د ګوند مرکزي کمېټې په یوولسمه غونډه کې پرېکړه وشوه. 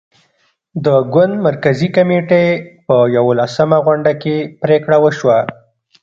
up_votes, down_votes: 0, 2